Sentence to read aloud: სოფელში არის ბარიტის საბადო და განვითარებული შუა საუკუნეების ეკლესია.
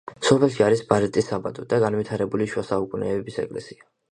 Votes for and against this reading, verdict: 3, 0, accepted